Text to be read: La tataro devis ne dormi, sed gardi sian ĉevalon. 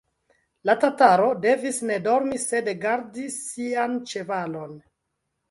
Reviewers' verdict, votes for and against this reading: rejected, 1, 2